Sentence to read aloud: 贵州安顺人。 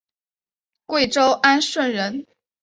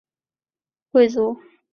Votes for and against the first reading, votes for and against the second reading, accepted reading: 3, 0, 0, 2, first